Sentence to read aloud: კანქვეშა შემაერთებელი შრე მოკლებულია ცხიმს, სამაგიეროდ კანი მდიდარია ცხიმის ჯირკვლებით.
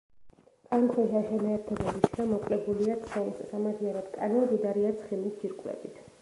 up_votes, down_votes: 1, 2